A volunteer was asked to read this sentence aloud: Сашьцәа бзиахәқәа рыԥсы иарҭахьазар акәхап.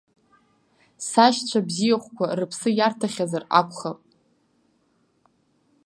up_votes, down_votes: 2, 0